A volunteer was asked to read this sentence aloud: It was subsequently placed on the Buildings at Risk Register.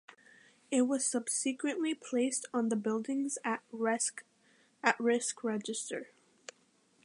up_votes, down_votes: 0, 2